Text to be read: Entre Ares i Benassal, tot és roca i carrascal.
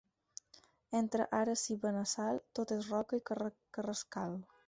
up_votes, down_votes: 4, 0